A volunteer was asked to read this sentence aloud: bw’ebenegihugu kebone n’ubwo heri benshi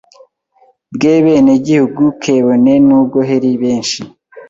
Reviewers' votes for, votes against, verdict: 0, 2, rejected